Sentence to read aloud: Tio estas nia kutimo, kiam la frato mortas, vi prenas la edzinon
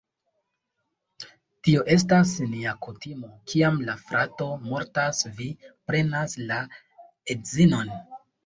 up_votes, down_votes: 2, 0